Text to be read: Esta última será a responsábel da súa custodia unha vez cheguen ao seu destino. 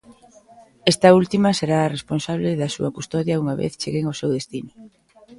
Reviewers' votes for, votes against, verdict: 3, 4, rejected